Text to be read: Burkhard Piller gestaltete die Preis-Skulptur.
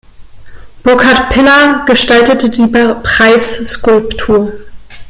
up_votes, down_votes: 0, 2